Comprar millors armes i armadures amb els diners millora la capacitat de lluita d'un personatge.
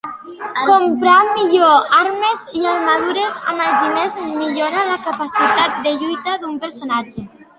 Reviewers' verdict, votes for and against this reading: rejected, 0, 2